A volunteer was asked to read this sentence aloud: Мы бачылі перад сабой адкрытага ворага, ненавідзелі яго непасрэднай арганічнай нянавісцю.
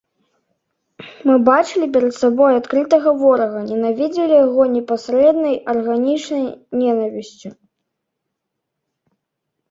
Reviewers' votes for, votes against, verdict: 1, 2, rejected